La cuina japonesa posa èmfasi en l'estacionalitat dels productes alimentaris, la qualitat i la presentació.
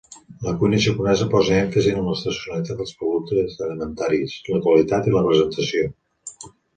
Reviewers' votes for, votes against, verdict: 0, 2, rejected